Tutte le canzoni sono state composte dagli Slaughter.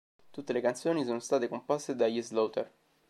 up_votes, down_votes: 2, 0